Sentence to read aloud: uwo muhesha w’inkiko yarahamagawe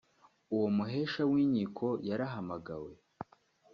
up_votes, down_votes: 2, 0